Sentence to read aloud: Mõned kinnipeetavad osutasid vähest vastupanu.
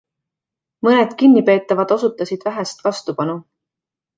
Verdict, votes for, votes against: accepted, 2, 0